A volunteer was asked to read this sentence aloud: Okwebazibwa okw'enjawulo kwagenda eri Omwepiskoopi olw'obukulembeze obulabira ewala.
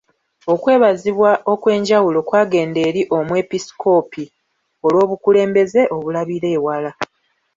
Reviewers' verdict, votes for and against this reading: accepted, 2, 0